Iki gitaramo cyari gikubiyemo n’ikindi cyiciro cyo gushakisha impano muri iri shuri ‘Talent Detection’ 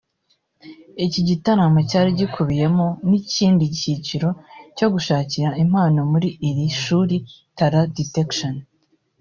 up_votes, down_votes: 1, 2